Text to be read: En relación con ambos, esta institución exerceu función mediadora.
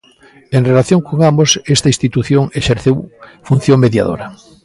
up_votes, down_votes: 2, 0